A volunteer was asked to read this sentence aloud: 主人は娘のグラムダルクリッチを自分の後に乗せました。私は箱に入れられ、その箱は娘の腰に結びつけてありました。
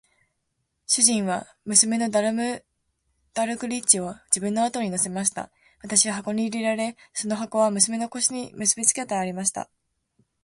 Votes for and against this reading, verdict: 2, 0, accepted